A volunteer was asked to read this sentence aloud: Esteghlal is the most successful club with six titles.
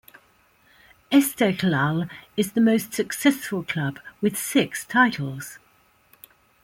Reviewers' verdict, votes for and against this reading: rejected, 1, 2